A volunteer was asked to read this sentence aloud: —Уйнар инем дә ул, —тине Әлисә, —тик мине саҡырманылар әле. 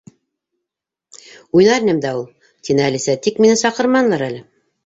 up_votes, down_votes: 2, 0